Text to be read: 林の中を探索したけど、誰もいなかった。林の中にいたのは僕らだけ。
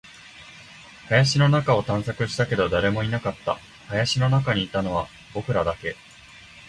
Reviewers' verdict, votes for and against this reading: accepted, 3, 0